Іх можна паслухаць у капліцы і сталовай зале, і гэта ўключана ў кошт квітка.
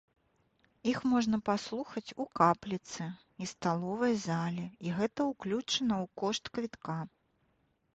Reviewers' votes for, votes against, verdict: 1, 2, rejected